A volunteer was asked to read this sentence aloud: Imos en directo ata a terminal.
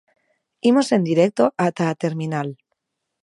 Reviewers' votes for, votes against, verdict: 2, 0, accepted